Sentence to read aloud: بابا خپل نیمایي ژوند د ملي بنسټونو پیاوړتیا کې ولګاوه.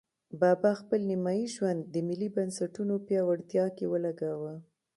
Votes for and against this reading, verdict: 2, 0, accepted